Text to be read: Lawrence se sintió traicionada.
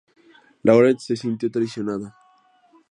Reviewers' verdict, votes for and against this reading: accepted, 2, 0